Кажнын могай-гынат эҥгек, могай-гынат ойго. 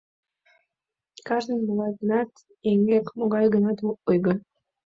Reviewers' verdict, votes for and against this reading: accepted, 3, 0